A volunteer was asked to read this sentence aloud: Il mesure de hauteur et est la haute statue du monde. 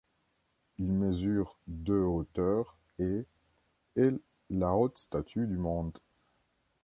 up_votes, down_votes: 2, 1